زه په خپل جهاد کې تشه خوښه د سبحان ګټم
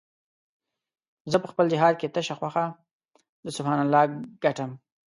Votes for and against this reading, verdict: 1, 2, rejected